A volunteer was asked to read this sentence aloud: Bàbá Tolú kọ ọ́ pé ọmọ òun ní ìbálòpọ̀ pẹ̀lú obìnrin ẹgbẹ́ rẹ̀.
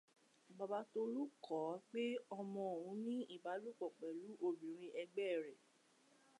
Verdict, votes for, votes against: accepted, 2, 0